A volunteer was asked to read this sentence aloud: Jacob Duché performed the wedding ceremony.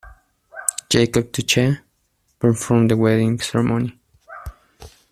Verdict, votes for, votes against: rejected, 1, 2